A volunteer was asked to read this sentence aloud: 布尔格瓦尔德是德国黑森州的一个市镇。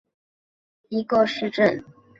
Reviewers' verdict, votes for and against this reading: rejected, 0, 2